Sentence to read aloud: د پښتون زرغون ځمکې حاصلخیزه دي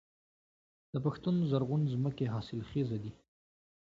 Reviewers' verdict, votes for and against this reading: accepted, 2, 0